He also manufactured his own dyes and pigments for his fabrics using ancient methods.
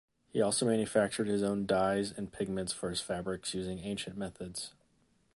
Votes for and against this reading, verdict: 2, 0, accepted